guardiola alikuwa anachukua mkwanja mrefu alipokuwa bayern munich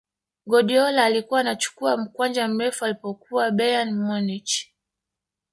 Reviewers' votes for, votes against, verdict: 1, 2, rejected